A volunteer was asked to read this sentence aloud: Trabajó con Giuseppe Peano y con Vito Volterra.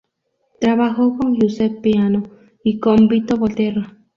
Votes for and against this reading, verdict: 0, 2, rejected